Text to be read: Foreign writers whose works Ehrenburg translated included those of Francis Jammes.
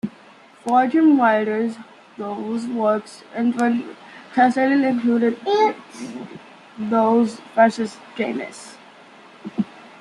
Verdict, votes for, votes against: rejected, 0, 3